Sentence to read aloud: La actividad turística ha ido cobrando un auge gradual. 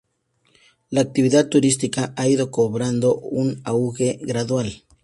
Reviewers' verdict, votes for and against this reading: accepted, 2, 0